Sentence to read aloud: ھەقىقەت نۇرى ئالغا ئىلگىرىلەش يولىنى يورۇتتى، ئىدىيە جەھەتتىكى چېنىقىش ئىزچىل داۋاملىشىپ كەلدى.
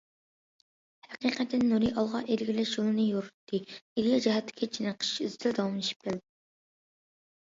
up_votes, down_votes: 0, 2